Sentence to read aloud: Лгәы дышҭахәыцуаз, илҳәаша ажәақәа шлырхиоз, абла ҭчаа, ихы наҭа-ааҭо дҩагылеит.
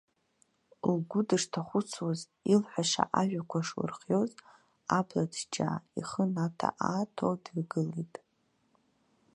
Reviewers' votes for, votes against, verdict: 0, 2, rejected